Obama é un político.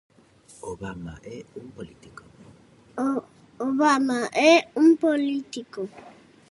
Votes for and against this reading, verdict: 0, 2, rejected